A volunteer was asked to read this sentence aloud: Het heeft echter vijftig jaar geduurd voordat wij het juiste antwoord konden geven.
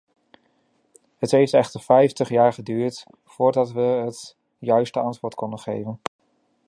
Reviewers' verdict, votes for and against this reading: rejected, 1, 2